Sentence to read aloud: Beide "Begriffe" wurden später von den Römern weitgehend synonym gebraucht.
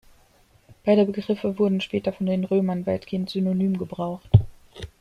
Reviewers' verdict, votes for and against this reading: rejected, 1, 2